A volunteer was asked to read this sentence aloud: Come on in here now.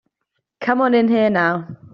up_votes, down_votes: 2, 0